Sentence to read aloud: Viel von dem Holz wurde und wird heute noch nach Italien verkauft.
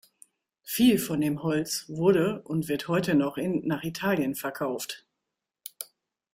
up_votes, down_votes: 0, 2